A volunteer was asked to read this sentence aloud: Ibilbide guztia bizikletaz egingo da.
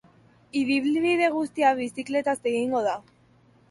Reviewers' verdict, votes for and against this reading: rejected, 0, 2